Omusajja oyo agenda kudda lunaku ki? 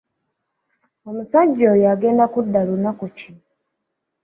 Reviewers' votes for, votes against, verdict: 2, 1, accepted